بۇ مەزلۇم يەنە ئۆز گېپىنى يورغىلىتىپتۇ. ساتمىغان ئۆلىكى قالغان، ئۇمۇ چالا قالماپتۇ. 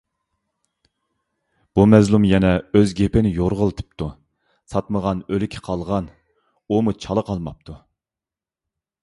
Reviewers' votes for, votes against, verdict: 2, 0, accepted